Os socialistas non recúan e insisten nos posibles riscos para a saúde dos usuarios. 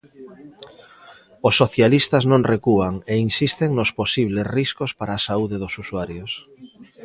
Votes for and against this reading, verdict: 2, 0, accepted